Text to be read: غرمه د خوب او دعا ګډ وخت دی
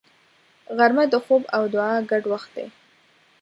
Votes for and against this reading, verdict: 2, 0, accepted